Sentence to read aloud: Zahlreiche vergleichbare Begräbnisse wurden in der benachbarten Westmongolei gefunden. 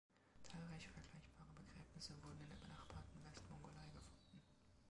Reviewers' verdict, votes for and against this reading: rejected, 0, 2